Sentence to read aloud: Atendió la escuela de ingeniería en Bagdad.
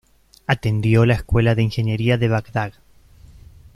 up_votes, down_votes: 0, 2